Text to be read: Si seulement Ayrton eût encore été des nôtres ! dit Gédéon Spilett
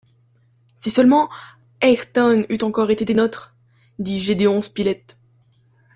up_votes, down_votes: 1, 2